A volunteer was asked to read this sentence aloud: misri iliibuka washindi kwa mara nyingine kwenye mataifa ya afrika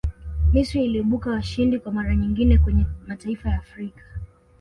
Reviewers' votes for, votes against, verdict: 2, 0, accepted